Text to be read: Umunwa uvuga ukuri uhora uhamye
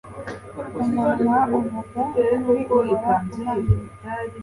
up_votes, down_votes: 2, 0